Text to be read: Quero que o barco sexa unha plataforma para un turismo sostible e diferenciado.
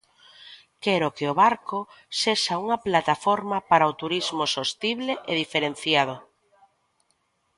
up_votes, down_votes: 1, 2